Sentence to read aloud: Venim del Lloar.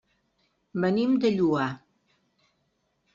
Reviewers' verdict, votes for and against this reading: rejected, 1, 2